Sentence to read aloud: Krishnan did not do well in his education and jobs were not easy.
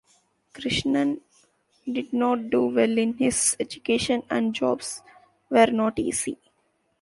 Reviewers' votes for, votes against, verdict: 2, 0, accepted